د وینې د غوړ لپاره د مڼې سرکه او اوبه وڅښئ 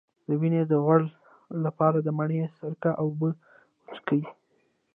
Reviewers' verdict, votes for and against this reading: accepted, 2, 0